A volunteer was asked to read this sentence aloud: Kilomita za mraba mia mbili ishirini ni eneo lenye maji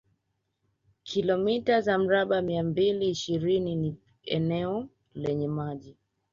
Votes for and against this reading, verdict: 3, 0, accepted